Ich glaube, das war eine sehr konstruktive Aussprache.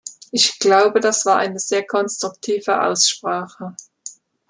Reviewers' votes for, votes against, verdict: 2, 0, accepted